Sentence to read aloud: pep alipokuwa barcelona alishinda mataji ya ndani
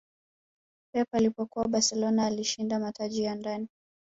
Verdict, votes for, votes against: rejected, 1, 2